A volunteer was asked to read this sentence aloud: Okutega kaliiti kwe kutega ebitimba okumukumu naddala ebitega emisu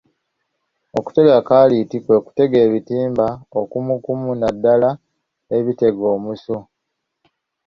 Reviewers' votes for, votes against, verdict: 1, 2, rejected